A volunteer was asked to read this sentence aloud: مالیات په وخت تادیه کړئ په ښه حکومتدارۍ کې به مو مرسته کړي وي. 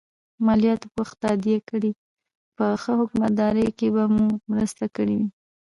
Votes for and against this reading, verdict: 2, 1, accepted